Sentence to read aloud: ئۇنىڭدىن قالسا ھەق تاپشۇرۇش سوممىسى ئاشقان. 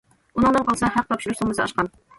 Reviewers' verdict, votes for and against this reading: rejected, 0, 2